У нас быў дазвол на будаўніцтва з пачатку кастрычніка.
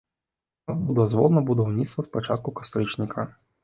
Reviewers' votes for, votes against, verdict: 0, 3, rejected